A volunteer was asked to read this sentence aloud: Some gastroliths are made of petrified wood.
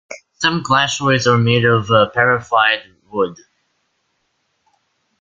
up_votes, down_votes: 1, 2